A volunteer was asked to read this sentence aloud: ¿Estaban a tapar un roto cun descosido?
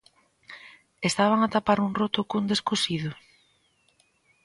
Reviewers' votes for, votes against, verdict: 2, 0, accepted